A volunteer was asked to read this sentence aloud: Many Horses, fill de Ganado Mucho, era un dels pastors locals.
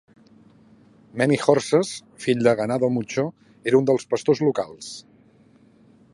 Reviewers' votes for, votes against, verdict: 2, 0, accepted